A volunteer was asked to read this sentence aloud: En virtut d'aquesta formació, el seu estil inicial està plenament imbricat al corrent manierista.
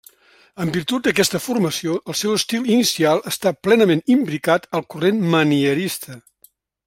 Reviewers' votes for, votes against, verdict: 2, 0, accepted